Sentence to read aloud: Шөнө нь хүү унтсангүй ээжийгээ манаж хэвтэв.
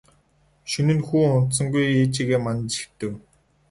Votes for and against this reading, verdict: 0, 2, rejected